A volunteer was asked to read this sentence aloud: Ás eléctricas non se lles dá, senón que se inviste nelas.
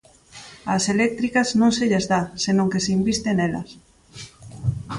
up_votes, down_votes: 2, 0